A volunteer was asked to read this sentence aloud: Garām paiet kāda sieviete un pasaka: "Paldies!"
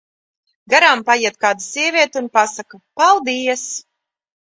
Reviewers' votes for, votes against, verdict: 2, 0, accepted